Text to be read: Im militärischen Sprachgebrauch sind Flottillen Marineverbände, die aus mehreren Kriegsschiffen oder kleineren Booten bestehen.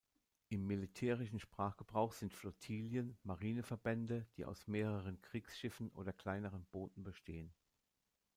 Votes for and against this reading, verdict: 0, 2, rejected